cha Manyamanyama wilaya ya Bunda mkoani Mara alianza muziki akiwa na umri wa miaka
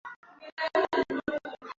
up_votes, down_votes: 0, 2